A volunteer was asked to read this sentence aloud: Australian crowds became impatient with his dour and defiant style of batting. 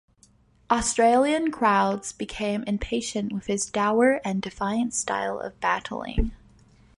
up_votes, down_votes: 1, 2